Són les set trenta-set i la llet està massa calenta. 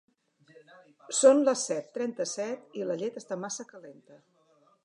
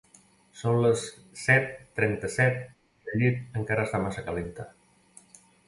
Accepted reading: first